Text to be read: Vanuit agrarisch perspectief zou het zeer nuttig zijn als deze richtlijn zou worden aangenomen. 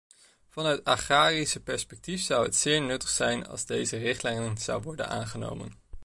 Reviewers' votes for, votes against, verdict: 0, 2, rejected